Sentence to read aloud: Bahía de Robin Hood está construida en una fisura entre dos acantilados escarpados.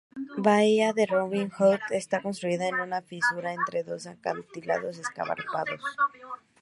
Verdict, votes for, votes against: rejected, 0, 2